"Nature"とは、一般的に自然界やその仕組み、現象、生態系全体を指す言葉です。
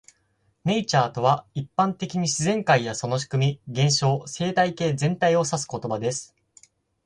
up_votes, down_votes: 4, 0